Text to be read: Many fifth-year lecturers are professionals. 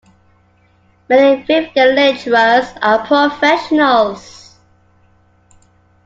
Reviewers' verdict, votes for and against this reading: accepted, 2, 1